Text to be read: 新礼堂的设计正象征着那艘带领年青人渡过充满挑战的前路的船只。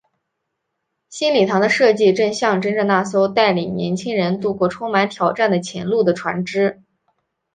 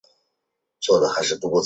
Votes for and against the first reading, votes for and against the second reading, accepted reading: 3, 0, 0, 2, first